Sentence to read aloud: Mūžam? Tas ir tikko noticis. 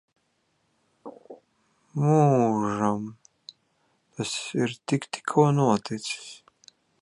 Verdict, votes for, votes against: rejected, 1, 3